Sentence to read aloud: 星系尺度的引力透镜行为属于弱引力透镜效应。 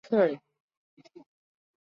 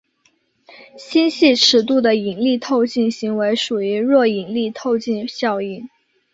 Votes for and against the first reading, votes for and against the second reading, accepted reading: 0, 2, 6, 0, second